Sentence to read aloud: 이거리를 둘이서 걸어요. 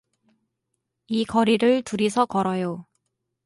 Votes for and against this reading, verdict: 2, 0, accepted